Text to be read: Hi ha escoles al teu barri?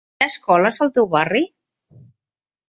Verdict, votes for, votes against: rejected, 1, 2